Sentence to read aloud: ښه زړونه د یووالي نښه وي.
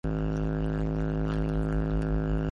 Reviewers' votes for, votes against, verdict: 0, 2, rejected